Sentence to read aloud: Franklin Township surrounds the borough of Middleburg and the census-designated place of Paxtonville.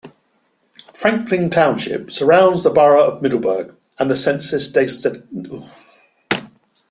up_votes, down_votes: 0, 2